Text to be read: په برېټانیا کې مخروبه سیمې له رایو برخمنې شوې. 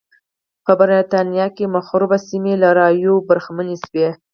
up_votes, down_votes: 2, 4